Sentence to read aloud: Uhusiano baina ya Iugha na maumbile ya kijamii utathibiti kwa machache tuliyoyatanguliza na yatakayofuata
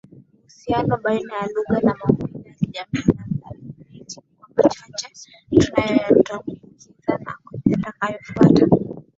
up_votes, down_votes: 1, 2